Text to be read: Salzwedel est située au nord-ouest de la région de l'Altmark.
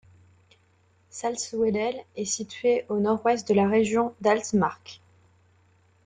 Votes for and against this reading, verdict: 1, 2, rejected